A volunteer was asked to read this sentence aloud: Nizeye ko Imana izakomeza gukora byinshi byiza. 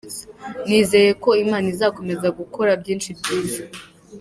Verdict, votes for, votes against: accepted, 2, 1